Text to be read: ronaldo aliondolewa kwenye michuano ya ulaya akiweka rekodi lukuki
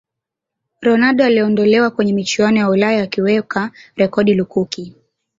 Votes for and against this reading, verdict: 1, 2, rejected